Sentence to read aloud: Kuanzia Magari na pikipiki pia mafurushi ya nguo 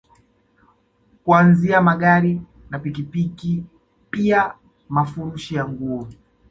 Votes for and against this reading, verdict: 2, 0, accepted